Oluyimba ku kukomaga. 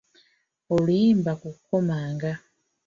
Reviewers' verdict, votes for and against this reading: rejected, 1, 2